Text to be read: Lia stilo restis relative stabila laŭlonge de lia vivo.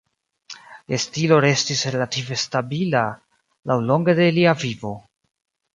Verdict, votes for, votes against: accepted, 3, 2